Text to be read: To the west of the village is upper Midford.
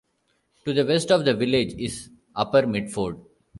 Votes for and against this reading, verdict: 1, 2, rejected